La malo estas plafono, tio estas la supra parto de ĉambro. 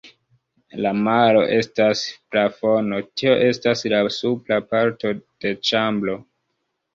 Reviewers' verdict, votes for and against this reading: rejected, 0, 2